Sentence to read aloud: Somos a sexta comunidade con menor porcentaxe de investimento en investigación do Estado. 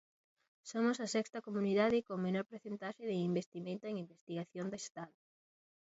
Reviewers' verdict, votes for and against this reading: rejected, 0, 2